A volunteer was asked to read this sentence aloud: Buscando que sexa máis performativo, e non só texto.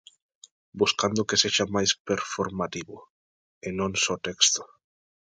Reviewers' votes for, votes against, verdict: 3, 0, accepted